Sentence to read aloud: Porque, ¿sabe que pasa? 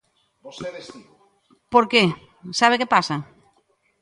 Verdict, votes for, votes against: rejected, 1, 2